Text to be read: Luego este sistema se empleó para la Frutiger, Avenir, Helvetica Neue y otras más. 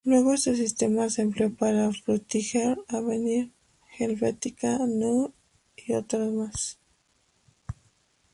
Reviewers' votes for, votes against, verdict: 0, 2, rejected